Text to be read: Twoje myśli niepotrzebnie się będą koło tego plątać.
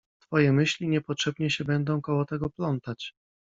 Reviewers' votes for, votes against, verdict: 2, 0, accepted